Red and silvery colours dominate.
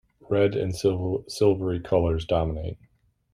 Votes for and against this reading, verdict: 0, 2, rejected